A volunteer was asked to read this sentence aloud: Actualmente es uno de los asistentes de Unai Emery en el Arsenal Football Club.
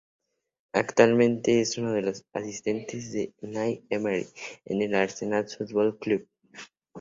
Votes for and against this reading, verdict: 2, 0, accepted